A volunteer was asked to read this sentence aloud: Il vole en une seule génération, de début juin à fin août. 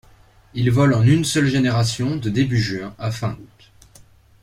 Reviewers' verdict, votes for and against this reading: rejected, 0, 2